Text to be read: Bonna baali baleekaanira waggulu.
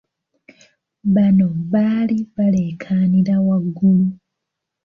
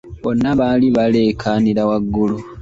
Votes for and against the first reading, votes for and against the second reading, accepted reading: 0, 2, 2, 1, second